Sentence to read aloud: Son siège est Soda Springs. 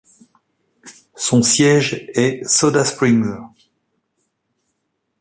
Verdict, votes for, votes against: rejected, 0, 2